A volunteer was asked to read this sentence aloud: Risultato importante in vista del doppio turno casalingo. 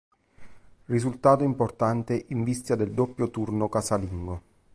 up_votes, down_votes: 2, 0